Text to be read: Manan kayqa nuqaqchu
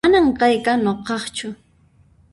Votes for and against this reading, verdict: 1, 2, rejected